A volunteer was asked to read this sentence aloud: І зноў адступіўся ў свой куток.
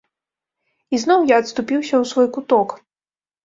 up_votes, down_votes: 1, 2